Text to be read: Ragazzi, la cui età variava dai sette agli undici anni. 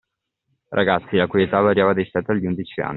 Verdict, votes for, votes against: accepted, 2, 0